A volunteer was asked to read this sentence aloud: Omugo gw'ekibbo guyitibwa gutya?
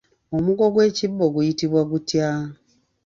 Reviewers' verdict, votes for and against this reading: accepted, 3, 2